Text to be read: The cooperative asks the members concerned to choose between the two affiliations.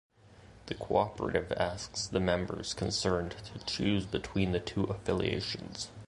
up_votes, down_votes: 2, 0